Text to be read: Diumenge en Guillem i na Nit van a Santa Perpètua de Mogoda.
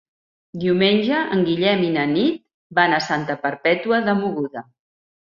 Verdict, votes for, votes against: rejected, 1, 2